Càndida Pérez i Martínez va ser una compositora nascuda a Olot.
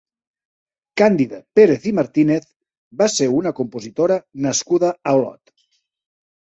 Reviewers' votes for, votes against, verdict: 3, 0, accepted